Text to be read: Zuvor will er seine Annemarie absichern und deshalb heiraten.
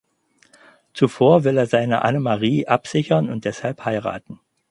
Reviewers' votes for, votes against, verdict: 4, 0, accepted